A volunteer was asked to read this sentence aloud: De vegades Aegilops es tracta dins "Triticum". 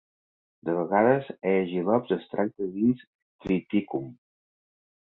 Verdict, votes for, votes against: accepted, 2, 0